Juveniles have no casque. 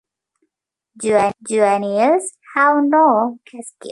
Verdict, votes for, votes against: rejected, 0, 2